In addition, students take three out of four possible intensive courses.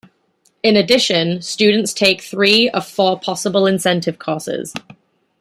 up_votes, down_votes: 0, 2